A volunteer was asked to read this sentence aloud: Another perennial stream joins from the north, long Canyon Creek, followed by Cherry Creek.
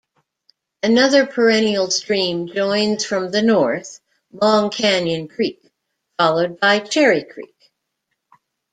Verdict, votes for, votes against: accepted, 2, 0